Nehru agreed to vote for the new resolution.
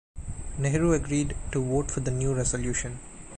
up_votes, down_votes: 2, 1